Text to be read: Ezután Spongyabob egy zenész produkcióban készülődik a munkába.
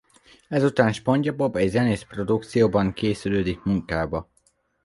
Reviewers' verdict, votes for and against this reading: rejected, 1, 2